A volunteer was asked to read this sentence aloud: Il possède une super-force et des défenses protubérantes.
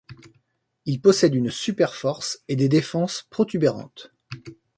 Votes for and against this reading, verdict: 2, 0, accepted